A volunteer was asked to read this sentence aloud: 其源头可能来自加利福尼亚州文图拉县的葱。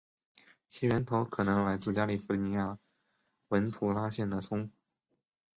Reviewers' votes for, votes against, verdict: 3, 0, accepted